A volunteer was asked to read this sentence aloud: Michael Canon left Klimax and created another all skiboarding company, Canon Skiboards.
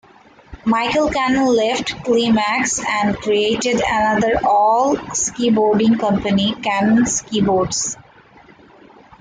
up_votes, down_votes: 2, 1